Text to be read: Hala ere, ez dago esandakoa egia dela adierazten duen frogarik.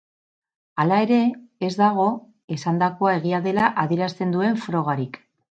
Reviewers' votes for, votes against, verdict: 2, 2, rejected